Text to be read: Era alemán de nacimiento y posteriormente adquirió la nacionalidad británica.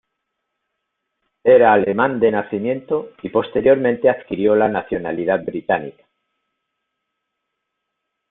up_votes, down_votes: 2, 1